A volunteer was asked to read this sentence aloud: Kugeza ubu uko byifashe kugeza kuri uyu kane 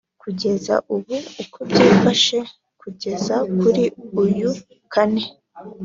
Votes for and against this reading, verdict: 3, 0, accepted